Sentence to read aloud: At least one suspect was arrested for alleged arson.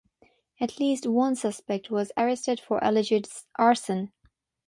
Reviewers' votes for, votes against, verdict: 6, 0, accepted